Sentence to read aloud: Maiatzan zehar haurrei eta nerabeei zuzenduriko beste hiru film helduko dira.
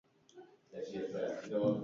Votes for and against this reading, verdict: 0, 4, rejected